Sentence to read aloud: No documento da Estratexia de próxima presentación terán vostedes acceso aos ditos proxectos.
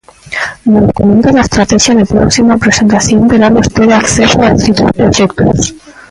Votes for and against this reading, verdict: 0, 3, rejected